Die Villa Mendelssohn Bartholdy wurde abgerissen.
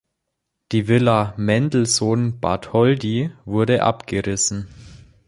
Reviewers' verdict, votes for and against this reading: accepted, 3, 0